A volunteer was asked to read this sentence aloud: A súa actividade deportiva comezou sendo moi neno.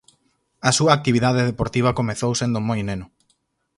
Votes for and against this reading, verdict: 4, 0, accepted